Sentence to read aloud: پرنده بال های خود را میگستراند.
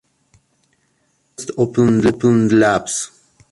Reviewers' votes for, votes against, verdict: 0, 2, rejected